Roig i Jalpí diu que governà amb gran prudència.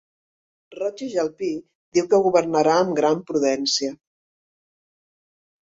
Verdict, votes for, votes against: rejected, 1, 2